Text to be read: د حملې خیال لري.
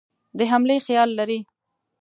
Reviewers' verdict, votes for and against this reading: accepted, 2, 0